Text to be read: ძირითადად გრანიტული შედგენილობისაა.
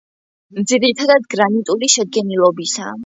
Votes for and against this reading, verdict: 2, 0, accepted